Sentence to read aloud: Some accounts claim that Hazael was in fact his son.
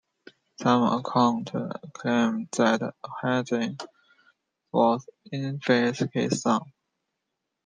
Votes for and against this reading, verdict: 0, 2, rejected